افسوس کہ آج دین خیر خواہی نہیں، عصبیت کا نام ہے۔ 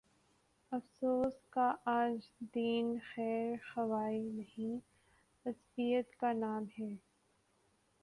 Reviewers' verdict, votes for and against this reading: rejected, 0, 2